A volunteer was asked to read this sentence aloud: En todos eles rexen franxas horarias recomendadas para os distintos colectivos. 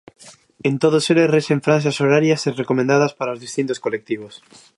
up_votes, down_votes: 2, 0